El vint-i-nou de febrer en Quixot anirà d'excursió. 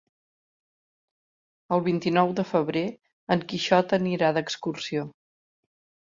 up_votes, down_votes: 2, 0